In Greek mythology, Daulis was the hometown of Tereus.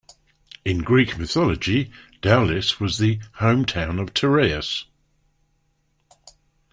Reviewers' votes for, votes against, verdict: 2, 0, accepted